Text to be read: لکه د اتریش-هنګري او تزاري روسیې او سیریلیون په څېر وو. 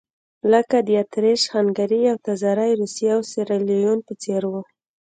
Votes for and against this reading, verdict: 3, 0, accepted